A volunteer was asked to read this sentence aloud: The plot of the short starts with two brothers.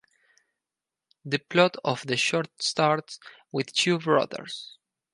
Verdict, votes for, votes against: accepted, 4, 0